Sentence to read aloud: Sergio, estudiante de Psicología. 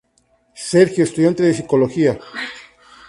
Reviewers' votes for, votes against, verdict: 2, 0, accepted